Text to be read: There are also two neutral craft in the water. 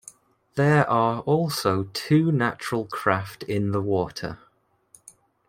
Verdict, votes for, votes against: rejected, 0, 2